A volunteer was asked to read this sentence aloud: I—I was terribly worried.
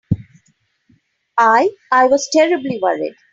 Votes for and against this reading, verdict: 2, 0, accepted